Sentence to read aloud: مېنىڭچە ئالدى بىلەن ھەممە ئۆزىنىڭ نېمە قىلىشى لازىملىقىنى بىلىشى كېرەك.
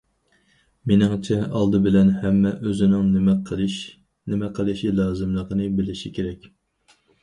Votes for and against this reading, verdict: 0, 4, rejected